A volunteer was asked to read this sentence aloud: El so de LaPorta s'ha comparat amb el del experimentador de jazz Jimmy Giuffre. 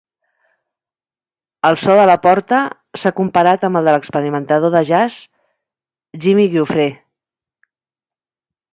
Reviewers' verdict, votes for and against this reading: accepted, 2, 0